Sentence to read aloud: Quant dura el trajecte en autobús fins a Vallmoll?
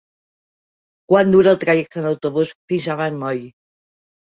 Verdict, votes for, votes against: rejected, 0, 2